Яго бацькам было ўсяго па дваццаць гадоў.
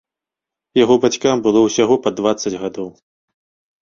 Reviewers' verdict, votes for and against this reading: accepted, 2, 0